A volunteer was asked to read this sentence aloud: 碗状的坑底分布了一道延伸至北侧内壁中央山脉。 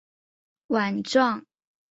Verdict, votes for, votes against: rejected, 0, 3